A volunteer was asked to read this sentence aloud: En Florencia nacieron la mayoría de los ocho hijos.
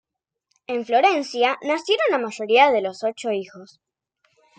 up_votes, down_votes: 2, 0